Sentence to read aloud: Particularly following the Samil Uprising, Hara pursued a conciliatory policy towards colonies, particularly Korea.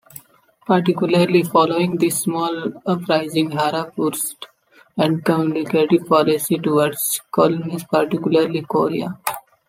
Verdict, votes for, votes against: rejected, 1, 2